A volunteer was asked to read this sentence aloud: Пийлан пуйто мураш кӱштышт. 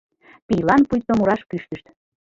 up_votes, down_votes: 2, 1